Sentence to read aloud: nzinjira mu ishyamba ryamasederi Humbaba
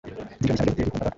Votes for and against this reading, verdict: 2, 1, accepted